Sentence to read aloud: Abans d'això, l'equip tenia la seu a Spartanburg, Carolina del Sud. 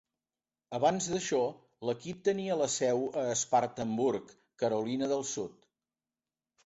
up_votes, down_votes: 3, 0